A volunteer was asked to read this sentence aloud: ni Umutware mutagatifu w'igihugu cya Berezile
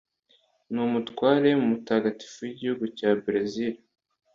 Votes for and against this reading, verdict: 2, 0, accepted